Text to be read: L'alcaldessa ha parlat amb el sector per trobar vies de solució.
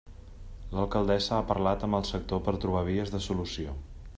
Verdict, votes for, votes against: accepted, 3, 0